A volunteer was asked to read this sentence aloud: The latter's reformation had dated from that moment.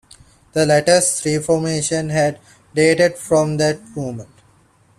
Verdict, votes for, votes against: accepted, 2, 0